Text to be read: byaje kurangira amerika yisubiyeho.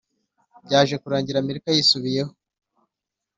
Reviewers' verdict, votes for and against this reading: accepted, 3, 0